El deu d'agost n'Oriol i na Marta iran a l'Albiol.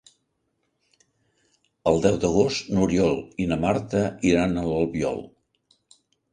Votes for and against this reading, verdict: 4, 0, accepted